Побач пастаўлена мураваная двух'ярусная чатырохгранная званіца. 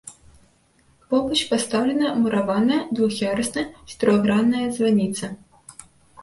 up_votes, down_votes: 2, 0